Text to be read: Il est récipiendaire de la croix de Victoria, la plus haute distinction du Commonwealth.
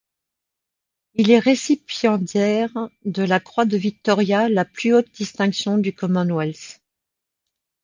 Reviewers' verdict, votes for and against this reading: accepted, 2, 0